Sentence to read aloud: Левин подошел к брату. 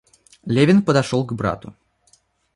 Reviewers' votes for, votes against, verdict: 2, 1, accepted